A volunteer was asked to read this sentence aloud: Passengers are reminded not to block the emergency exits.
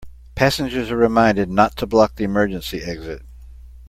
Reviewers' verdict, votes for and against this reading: rejected, 1, 2